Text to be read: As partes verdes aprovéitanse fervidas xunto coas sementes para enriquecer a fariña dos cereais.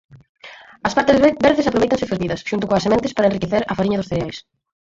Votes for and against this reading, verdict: 2, 6, rejected